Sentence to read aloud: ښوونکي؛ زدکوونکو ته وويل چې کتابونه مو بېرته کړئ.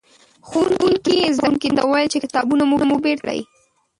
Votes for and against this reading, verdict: 0, 2, rejected